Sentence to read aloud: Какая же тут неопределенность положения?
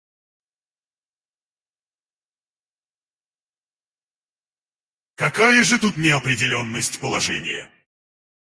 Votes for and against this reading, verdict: 2, 4, rejected